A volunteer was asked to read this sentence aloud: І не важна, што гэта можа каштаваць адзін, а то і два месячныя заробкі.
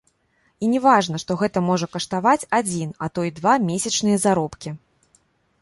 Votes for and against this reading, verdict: 2, 0, accepted